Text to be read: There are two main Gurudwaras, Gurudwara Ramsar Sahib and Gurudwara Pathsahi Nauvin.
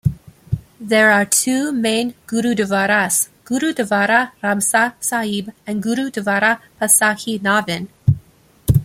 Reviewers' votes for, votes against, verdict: 2, 0, accepted